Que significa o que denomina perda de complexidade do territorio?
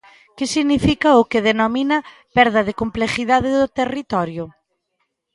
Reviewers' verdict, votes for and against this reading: rejected, 0, 2